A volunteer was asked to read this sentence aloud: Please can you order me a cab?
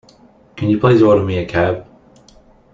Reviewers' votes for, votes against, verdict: 0, 2, rejected